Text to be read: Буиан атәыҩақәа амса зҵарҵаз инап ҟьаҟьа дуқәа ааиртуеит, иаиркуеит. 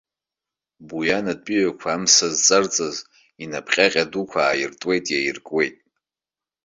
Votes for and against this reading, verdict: 2, 0, accepted